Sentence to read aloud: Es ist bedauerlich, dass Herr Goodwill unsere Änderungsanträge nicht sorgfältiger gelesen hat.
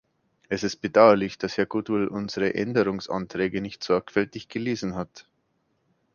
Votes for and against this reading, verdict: 1, 2, rejected